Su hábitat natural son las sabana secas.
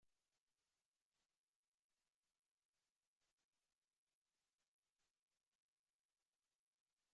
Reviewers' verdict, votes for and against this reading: rejected, 0, 2